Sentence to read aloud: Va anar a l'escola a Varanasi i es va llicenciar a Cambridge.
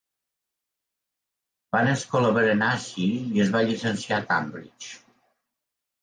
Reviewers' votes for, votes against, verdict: 1, 2, rejected